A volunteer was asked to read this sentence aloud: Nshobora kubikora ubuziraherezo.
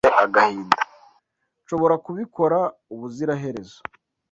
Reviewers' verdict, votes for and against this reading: rejected, 1, 2